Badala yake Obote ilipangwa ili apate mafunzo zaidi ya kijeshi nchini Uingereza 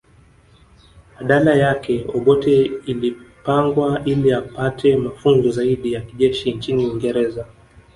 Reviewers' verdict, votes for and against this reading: accepted, 3, 1